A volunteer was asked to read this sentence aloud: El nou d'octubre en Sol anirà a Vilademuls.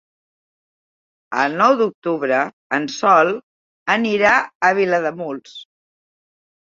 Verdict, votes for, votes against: accepted, 3, 0